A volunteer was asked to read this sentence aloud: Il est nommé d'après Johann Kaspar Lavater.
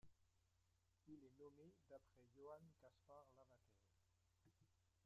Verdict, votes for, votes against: rejected, 0, 2